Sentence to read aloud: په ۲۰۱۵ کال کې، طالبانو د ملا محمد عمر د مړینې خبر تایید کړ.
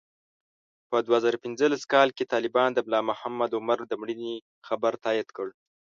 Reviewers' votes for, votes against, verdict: 0, 2, rejected